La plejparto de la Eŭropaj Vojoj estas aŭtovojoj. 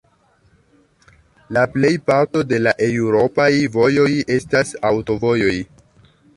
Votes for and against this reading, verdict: 1, 2, rejected